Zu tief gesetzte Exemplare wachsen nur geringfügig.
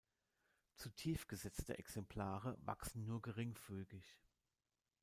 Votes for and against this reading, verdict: 1, 2, rejected